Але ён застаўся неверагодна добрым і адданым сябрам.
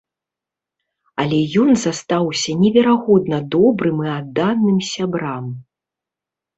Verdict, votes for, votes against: rejected, 1, 2